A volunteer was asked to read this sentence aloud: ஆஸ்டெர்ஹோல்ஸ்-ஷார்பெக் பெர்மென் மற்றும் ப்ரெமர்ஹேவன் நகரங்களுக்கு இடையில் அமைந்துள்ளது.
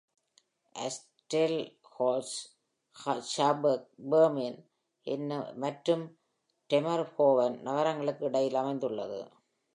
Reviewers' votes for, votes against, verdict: 1, 2, rejected